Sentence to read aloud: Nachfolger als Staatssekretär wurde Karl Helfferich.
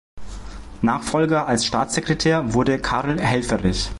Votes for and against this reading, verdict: 2, 0, accepted